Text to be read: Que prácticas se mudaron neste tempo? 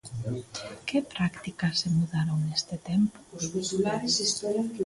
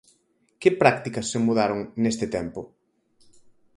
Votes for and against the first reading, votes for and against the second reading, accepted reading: 0, 2, 4, 0, second